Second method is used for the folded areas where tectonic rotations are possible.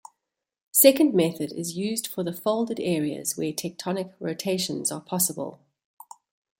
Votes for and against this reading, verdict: 0, 2, rejected